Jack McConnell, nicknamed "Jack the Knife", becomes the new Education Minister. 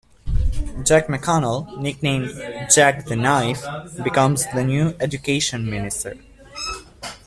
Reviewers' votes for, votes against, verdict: 2, 0, accepted